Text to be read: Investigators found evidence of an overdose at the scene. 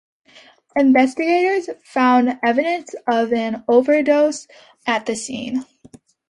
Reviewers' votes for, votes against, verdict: 2, 0, accepted